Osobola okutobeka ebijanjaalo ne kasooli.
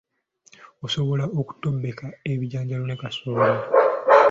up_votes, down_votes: 2, 0